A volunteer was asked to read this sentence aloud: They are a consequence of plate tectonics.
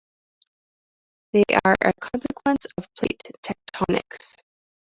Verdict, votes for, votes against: accepted, 2, 1